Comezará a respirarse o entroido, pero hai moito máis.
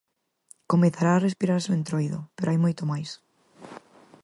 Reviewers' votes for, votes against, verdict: 4, 0, accepted